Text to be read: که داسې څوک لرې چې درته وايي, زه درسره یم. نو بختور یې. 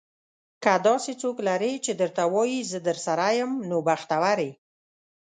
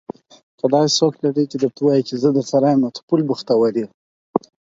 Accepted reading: first